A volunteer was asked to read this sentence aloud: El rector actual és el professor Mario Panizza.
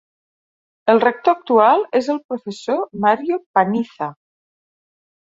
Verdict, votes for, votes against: rejected, 0, 2